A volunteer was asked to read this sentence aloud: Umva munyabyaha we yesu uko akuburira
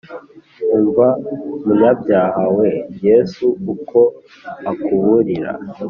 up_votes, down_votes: 2, 1